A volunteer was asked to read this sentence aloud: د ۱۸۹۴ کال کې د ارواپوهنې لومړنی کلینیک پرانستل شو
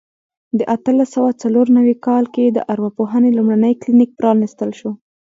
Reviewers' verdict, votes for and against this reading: rejected, 0, 2